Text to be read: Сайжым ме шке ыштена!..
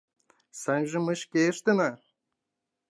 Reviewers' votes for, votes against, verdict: 2, 1, accepted